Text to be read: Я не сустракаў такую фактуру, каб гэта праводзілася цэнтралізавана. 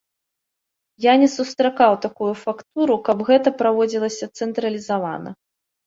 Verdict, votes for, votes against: accepted, 2, 0